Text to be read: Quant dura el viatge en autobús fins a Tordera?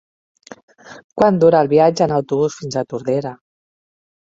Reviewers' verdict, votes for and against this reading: accepted, 3, 1